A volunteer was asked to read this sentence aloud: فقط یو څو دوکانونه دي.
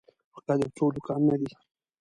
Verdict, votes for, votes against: accepted, 2, 0